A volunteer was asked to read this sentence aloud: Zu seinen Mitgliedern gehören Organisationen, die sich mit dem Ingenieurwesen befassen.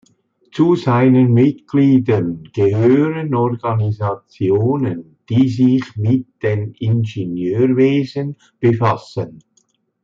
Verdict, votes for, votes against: accepted, 2, 0